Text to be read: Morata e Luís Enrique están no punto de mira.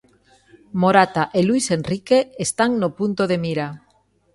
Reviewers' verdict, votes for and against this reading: accepted, 2, 0